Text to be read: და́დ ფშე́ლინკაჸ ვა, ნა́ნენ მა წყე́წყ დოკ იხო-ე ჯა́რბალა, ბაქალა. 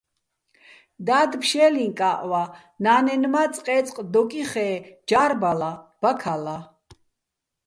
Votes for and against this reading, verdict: 1, 2, rejected